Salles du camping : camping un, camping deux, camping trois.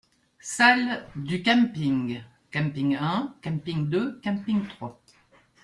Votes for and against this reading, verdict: 1, 2, rejected